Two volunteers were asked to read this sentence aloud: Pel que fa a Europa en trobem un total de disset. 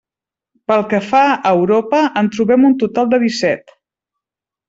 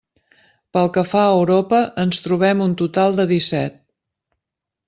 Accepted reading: first